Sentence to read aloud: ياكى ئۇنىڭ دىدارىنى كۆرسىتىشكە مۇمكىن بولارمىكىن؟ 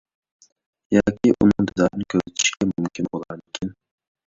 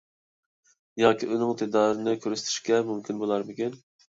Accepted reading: second